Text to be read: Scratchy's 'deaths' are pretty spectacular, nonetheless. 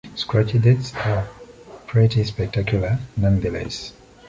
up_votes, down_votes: 2, 1